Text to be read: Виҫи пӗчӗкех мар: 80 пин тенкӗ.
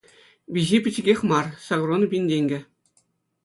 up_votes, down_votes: 0, 2